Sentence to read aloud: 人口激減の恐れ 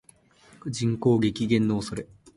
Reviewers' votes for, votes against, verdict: 18, 1, accepted